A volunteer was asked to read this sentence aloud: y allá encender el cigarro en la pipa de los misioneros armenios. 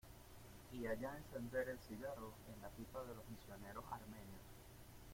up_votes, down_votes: 1, 2